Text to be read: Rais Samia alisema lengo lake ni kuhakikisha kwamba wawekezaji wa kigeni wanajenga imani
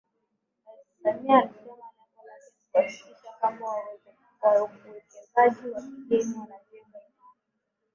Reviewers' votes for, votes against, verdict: 0, 2, rejected